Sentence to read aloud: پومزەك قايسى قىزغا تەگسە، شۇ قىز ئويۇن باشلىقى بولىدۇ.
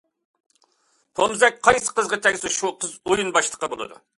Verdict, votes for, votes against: accepted, 2, 0